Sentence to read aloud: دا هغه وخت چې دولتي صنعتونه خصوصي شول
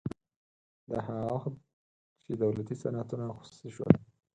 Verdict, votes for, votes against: rejected, 0, 4